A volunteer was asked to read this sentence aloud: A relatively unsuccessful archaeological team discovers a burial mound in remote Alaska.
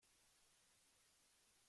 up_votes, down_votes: 0, 2